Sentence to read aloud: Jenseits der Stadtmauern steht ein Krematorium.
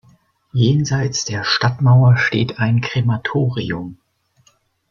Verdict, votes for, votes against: rejected, 2, 4